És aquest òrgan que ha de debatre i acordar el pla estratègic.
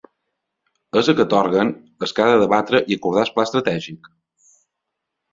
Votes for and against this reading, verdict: 1, 2, rejected